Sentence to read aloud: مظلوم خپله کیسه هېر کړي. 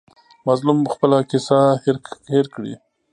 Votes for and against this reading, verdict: 1, 2, rejected